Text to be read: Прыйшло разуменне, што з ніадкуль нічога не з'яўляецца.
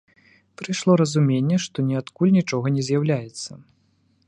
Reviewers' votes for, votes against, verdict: 0, 2, rejected